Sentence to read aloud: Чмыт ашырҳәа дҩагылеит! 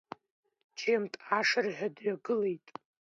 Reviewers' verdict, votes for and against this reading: rejected, 0, 2